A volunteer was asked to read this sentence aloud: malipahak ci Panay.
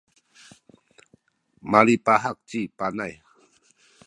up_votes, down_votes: 2, 0